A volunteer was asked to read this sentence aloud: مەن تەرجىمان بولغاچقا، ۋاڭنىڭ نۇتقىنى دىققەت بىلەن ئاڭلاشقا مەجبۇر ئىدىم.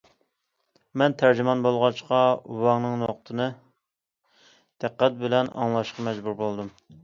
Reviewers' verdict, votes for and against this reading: rejected, 0, 2